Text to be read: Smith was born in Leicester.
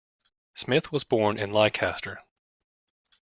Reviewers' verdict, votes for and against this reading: rejected, 0, 2